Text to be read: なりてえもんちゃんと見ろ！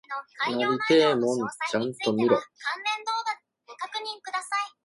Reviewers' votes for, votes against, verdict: 0, 2, rejected